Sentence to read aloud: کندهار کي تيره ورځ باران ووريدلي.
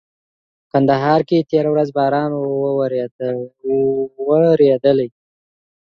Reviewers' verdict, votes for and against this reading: rejected, 1, 2